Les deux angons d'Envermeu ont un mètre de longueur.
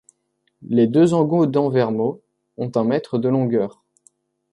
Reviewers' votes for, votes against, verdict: 0, 2, rejected